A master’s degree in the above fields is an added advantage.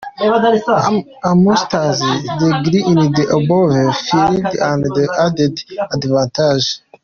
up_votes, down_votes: 2, 1